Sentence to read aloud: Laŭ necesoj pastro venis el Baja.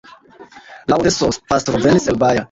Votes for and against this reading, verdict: 1, 2, rejected